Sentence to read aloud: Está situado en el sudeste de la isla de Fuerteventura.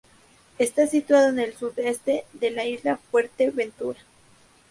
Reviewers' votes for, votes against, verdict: 2, 2, rejected